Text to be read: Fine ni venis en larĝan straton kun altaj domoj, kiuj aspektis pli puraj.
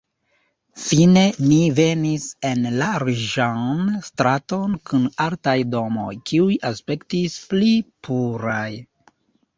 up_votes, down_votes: 2, 0